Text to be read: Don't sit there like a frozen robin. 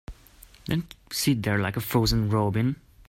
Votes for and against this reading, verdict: 0, 3, rejected